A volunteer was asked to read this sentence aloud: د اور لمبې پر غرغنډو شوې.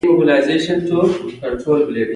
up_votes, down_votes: 1, 2